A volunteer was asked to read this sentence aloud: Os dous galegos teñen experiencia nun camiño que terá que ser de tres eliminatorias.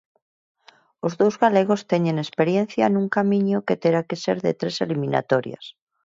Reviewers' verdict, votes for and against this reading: accepted, 6, 0